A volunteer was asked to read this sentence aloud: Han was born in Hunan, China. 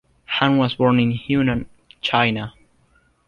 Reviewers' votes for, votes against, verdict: 2, 0, accepted